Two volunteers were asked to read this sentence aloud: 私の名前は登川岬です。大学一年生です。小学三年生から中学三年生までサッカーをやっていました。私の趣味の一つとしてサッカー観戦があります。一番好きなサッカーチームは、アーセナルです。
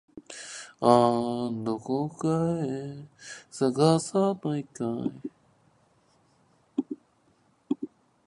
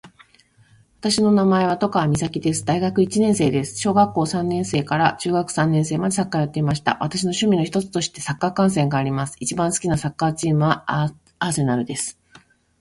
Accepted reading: first